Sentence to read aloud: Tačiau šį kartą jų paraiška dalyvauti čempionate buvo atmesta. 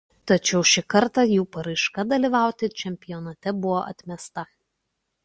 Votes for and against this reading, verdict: 2, 0, accepted